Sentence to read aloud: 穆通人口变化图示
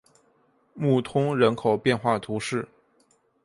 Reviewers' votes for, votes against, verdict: 2, 0, accepted